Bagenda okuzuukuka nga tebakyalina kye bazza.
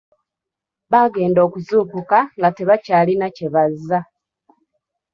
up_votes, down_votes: 1, 2